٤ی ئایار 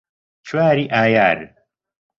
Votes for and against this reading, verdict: 0, 2, rejected